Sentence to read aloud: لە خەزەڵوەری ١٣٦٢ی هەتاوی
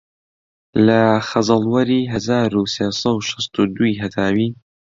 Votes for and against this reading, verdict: 0, 2, rejected